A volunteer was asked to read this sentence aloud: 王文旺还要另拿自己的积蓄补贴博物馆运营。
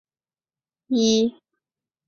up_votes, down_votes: 0, 2